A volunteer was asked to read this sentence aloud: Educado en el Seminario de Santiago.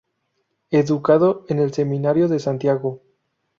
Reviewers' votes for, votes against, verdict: 0, 2, rejected